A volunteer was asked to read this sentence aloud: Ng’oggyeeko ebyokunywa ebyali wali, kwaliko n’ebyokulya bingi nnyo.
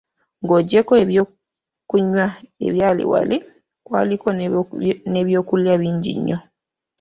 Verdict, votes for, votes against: rejected, 0, 2